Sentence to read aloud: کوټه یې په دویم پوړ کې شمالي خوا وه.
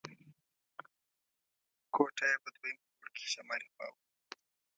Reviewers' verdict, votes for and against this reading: rejected, 0, 2